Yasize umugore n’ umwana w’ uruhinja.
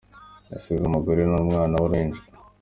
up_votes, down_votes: 3, 0